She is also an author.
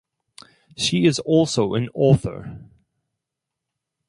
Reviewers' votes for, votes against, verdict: 4, 0, accepted